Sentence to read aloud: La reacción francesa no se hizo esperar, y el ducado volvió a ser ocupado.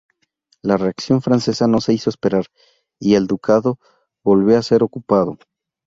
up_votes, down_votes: 4, 0